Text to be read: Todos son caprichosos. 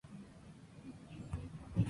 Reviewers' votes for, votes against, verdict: 2, 2, rejected